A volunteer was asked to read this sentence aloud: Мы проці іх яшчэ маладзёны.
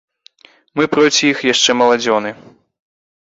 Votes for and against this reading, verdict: 2, 0, accepted